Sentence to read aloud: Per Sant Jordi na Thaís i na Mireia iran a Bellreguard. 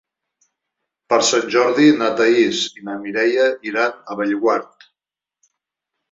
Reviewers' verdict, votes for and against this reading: rejected, 0, 2